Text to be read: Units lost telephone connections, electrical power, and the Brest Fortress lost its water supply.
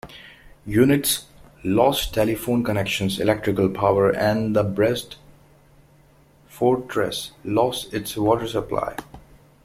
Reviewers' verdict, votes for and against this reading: rejected, 1, 2